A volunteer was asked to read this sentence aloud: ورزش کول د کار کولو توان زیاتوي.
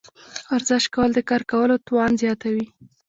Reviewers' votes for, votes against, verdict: 1, 2, rejected